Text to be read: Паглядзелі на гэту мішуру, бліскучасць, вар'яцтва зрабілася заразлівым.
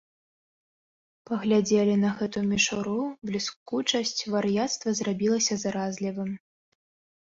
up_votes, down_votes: 2, 1